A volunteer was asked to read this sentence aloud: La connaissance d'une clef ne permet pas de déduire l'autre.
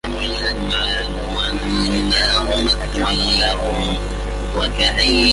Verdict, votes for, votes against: rejected, 0, 2